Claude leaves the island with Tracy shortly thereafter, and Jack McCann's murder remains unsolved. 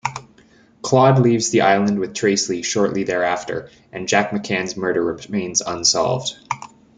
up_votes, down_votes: 2, 0